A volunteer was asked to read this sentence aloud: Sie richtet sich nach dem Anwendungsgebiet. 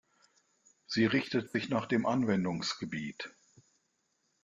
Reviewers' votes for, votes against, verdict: 1, 2, rejected